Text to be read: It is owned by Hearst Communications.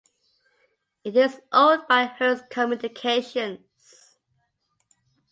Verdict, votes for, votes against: accepted, 2, 0